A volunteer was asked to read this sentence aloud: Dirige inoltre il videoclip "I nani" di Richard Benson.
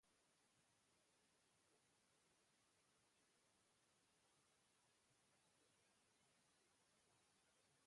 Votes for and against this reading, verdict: 0, 2, rejected